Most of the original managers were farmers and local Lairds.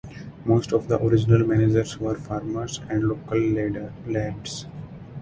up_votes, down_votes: 0, 4